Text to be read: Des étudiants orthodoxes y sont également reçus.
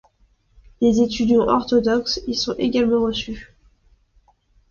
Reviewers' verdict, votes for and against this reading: accepted, 2, 0